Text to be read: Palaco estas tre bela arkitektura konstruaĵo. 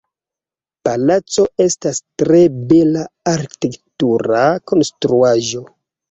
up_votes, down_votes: 2, 1